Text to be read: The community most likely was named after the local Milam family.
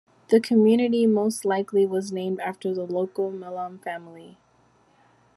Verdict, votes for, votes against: accepted, 2, 0